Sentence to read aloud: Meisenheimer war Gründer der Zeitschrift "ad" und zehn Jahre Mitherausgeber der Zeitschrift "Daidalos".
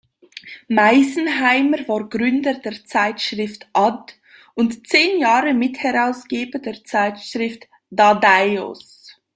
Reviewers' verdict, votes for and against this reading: rejected, 0, 2